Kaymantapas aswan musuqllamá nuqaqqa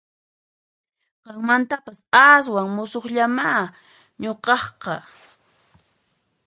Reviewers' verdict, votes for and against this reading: accepted, 2, 1